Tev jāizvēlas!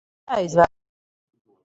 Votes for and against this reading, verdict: 0, 4, rejected